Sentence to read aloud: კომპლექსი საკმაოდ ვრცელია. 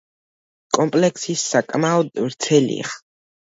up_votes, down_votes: 0, 2